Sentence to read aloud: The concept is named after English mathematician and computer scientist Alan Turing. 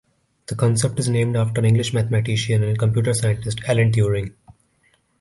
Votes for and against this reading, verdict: 2, 0, accepted